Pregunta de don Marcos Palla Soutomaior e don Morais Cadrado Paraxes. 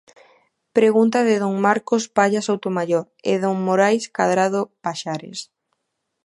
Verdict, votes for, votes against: rejected, 0, 2